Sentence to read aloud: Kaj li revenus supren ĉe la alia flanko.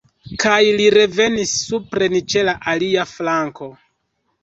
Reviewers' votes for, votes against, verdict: 1, 2, rejected